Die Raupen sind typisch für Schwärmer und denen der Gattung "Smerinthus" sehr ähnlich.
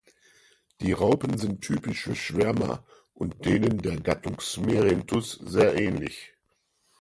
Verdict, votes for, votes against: accepted, 4, 2